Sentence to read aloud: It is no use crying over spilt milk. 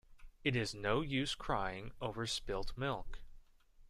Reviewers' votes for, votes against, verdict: 2, 0, accepted